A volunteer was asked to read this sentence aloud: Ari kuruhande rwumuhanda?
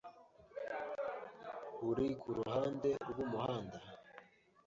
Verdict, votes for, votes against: rejected, 0, 2